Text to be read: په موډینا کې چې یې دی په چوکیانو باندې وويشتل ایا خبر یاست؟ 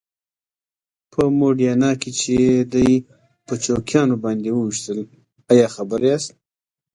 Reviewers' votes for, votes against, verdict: 3, 0, accepted